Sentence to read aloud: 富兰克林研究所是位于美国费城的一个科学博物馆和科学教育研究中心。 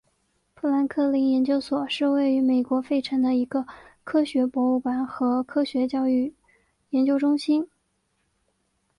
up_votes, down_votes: 2, 0